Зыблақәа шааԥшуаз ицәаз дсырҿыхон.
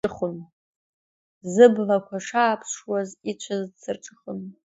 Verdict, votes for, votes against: rejected, 1, 2